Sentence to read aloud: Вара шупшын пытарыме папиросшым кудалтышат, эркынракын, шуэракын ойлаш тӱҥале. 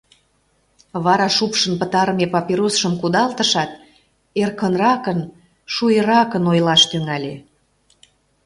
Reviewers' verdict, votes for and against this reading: accepted, 2, 0